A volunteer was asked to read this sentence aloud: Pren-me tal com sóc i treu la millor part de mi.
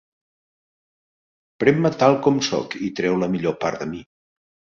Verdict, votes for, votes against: accepted, 5, 0